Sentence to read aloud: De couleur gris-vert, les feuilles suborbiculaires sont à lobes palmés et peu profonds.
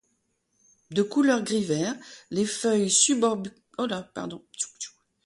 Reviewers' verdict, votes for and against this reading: rejected, 1, 2